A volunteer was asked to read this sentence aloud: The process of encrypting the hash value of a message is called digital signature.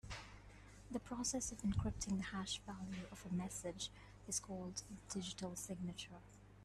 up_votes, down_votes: 2, 0